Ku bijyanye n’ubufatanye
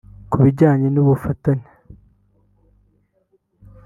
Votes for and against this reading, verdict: 0, 2, rejected